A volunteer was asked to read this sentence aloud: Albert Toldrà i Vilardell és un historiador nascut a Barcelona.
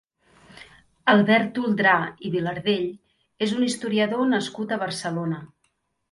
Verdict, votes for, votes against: accepted, 2, 0